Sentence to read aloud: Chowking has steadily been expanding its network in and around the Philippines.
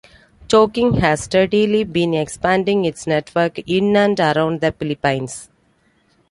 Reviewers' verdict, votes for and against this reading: accepted, 2, 0